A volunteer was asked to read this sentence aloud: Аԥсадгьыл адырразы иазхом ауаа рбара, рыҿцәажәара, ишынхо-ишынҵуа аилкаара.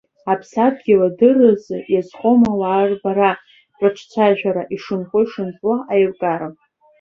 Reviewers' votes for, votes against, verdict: 1, 2, rejected